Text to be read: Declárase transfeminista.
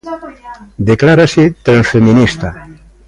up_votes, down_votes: 1, 2